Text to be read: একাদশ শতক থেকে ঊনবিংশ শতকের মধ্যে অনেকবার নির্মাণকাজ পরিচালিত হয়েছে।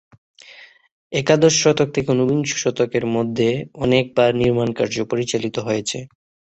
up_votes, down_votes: 3, 3